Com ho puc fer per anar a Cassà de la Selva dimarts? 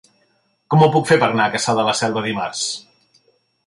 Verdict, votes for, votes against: accepted, 3, 0